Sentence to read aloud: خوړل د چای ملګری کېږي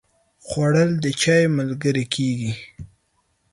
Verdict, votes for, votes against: accepted, 4, 0